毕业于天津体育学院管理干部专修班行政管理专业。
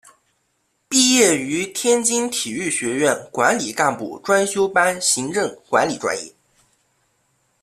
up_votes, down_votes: 2, 0